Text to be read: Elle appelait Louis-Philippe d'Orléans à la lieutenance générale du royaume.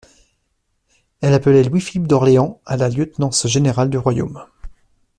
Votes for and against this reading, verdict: 2, 0, accepted